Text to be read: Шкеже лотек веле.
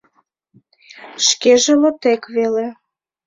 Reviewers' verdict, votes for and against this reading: accepted, 2, 0